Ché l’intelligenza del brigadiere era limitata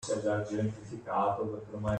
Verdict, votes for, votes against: rejected, 0, 2